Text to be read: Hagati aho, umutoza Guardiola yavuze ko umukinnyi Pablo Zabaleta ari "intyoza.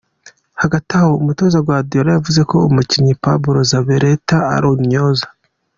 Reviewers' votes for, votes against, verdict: 2, 0, accepted